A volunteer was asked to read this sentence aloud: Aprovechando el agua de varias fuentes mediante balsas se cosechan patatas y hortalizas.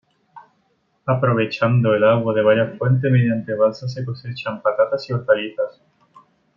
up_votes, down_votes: 2, 1